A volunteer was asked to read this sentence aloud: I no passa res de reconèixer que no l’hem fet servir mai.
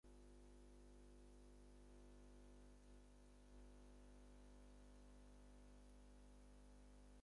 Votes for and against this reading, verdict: 0, 4, rejected